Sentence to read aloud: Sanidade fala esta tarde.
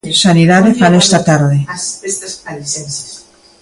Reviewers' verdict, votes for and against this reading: accepted, 2, 0